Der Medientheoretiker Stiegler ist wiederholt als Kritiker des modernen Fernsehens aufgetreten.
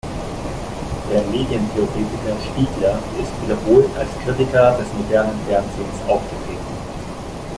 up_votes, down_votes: 0, 2